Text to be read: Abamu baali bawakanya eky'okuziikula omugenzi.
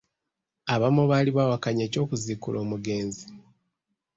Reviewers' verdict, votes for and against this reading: accepted, 2, 1